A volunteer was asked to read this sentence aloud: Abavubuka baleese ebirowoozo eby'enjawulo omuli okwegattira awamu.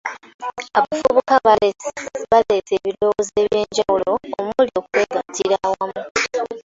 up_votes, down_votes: 0, 2